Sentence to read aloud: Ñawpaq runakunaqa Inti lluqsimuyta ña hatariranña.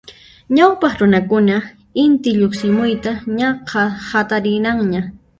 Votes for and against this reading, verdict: 1, 2, rejected